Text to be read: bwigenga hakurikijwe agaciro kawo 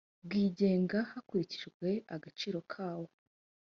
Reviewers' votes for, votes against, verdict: 3, 0, accepted